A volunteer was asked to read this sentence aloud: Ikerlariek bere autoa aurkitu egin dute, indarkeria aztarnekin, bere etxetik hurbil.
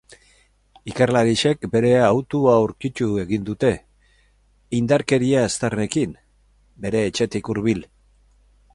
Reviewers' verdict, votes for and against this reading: accepted, 2, 0